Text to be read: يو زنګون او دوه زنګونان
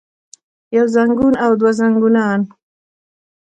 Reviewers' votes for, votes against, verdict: 2, 1, accepted